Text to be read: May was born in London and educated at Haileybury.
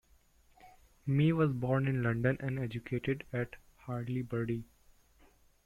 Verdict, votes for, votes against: rejected, 1, 2